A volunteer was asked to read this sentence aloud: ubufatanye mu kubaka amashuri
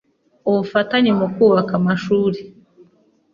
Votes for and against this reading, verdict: 3, 0, accepted